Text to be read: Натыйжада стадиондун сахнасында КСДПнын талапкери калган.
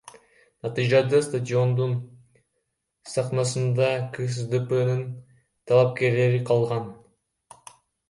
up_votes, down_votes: 0, 2